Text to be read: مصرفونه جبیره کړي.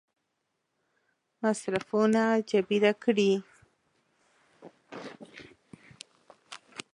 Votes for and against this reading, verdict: 0, 2, rejected